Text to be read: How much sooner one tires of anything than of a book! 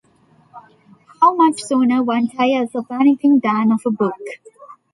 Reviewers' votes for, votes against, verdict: 2, 0, accepted